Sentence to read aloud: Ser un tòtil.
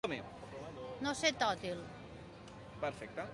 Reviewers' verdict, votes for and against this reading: rejected, 0, 2